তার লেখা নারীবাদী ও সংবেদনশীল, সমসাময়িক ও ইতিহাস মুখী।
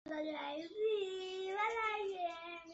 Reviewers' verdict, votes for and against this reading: rejected, 0, 2